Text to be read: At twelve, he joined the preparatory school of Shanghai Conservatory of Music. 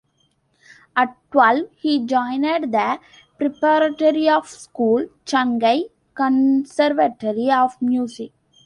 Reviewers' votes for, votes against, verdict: 1, 2, rejected